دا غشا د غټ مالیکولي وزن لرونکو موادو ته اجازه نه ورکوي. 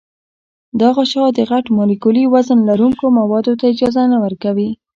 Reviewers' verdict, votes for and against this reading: accepted, 2, 1